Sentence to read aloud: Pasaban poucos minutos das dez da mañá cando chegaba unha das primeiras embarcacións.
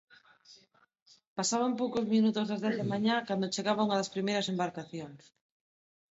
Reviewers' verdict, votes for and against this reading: rejected, 0, 2